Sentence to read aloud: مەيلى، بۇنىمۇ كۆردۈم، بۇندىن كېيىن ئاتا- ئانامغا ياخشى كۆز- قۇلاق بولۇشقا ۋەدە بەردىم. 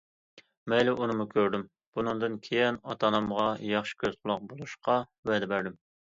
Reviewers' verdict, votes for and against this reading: accepted, 2, 0